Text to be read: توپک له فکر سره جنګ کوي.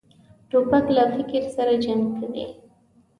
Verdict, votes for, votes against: accepted, 2, 0